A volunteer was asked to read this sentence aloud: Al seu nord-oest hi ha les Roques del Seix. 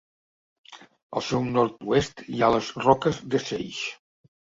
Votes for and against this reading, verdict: 1, 2, rejected